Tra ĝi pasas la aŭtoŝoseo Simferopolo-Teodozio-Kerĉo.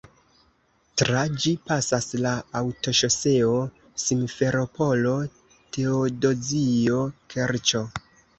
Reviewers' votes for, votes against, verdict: 2, 1, accepted